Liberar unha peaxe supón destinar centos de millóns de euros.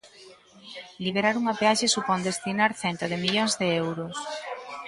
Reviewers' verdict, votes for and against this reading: rejected, 1, 2